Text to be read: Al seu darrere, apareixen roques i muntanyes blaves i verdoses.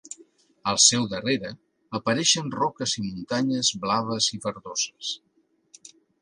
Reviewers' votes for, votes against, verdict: 2, 0, accepted